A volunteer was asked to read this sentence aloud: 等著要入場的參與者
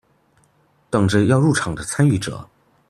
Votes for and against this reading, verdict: 2, 0, accepted